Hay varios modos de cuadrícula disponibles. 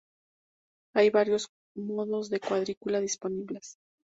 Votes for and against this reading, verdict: 2, 0, accepted